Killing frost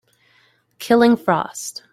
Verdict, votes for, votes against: accepted, 2, 0